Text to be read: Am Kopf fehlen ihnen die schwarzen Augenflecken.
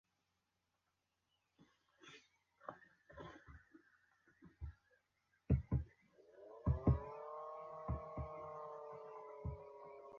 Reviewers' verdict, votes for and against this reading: rejected, 0, 2